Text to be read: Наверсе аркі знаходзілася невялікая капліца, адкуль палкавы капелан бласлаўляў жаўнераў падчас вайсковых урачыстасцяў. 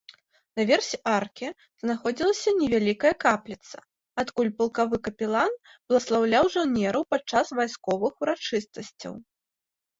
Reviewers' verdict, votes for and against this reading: rejected, 1, 2